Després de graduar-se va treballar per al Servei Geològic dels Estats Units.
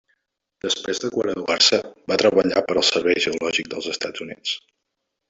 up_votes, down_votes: 0, 2